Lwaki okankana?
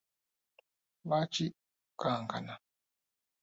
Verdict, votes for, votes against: rejected, 1, 3